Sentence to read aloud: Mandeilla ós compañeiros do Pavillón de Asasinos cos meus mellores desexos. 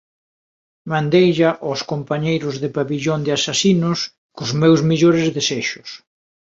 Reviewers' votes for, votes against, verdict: 2, 1, accepted